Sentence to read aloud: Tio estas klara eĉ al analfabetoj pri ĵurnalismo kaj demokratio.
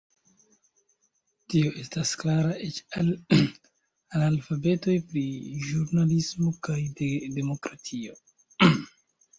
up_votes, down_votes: 1, 2